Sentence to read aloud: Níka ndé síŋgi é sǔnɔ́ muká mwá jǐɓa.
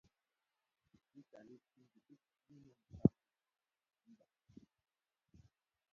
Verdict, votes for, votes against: rejected, 1, 2